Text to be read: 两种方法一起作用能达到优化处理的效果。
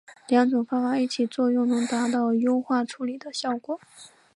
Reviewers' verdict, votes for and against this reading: accepted, 5, 0